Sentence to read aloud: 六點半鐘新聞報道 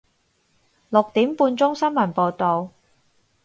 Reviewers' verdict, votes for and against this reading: accepted, 4, 0